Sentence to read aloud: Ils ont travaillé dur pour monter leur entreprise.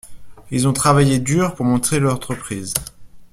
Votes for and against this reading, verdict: 1, 2, rejected